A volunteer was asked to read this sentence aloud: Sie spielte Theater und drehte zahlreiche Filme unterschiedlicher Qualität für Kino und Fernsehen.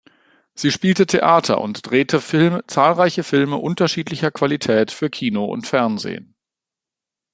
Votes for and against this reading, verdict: 0, 2, rejected